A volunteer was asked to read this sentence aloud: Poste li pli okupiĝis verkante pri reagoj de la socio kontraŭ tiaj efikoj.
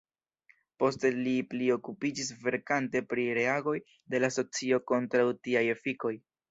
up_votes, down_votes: 2, 0